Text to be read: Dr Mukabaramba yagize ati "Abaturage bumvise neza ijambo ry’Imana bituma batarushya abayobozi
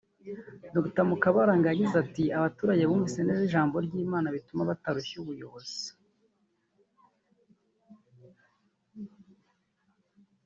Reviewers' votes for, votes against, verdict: 1, 2, rejected